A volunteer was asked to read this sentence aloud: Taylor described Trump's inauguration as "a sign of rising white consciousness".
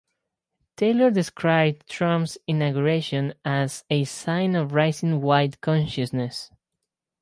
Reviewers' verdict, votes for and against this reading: accepted, 6, 0